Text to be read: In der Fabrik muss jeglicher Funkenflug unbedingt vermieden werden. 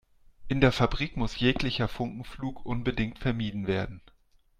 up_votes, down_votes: 2, 0